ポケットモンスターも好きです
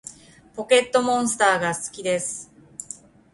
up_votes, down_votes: 0, 2